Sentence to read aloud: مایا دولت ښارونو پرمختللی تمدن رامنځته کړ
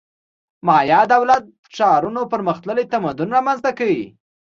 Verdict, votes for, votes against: accepted, 2, 0